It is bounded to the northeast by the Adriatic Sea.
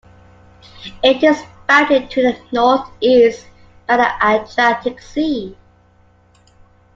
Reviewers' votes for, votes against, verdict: 0, 2, rejected